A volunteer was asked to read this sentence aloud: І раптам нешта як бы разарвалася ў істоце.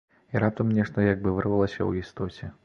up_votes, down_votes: 0, 2